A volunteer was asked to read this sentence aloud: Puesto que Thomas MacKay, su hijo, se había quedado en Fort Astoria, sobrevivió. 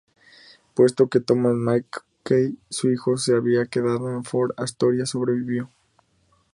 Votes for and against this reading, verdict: 2, 0, accepted